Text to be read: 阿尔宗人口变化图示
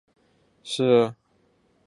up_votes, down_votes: 0, 5